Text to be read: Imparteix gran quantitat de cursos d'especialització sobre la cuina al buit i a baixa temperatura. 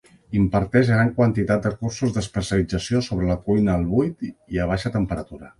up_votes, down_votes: 2, 0